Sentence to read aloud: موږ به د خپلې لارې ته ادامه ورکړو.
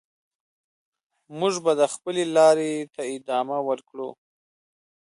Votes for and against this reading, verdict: 2, 1, accepted